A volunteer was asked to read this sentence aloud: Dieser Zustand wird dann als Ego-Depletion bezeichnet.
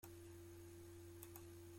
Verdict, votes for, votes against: rejected, 0, 2